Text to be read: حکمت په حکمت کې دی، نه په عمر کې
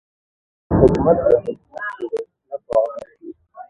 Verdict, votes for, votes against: rejected, 0, 2